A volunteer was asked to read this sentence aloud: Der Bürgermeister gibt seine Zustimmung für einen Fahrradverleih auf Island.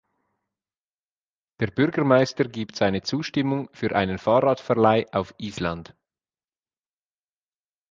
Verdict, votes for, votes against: accepted, 2, 0